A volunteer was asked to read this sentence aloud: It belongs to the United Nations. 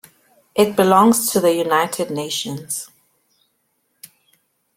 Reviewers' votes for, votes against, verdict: 2, 0, accepted